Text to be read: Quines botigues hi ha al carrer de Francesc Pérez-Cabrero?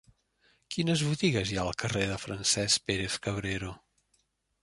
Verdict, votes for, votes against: rejected, 1, 2